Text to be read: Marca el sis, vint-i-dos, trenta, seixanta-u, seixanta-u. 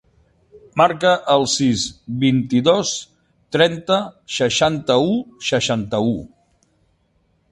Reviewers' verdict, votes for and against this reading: accepted, 2, 0